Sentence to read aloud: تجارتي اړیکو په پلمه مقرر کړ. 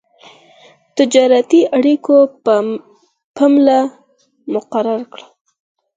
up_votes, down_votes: 4, 2